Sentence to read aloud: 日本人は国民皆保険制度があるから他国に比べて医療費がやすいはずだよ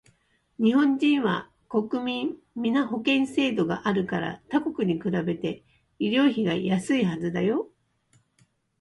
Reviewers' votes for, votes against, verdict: 0, 2, rejected